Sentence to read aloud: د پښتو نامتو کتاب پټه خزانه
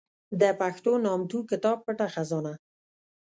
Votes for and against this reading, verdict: 1, 2, rejected